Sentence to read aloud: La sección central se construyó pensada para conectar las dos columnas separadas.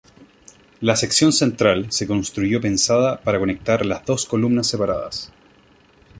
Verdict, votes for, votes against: accepted, 3, 0